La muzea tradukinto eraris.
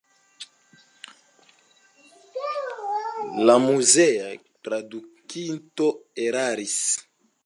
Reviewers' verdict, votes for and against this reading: accepted, 2, 0